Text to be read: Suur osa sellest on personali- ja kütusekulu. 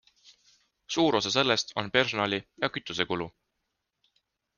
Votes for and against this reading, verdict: 2, 0, accepted